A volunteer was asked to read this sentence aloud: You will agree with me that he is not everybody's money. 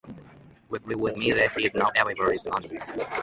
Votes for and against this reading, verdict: 0, 2, rejected